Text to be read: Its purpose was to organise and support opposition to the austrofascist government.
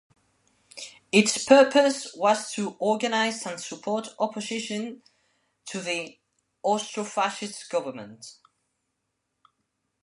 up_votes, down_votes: 1, 2